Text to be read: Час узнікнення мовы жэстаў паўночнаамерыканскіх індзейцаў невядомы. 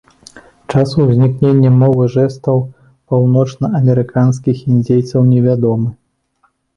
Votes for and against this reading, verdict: 2, 0, accepted